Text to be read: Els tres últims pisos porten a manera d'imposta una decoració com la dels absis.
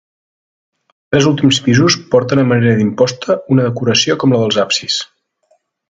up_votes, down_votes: 1, 2